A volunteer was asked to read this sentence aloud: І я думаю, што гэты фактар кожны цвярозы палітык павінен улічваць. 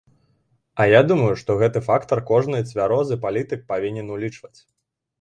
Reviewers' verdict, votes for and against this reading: rejected, 0, 2